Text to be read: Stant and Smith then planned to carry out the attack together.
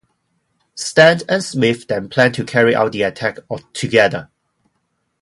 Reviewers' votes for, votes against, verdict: 0, 2, rejected